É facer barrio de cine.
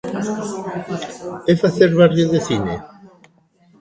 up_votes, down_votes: 1, 2